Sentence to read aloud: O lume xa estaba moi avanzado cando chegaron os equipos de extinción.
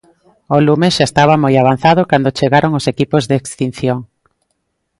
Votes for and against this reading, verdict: 2, 0, accepted